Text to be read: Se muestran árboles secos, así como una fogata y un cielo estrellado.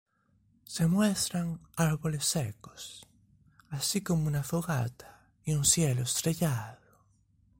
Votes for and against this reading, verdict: 2, 0, accepted